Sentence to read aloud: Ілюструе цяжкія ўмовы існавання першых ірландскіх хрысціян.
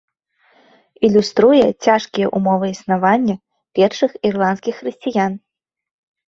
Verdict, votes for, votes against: accepted, 2, 0